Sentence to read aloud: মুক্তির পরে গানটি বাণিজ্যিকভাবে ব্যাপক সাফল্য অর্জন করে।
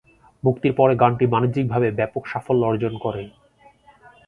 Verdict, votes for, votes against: accepted, 2, 0